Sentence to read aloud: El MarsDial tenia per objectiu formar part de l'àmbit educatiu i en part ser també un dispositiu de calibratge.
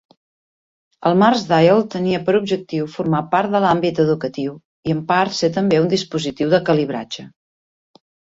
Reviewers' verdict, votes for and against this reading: accepted, 2, 0